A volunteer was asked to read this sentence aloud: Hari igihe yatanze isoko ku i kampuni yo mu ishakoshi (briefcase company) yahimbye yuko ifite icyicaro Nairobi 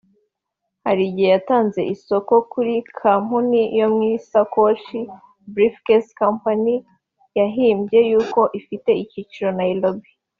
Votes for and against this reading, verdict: 0, 2, rejected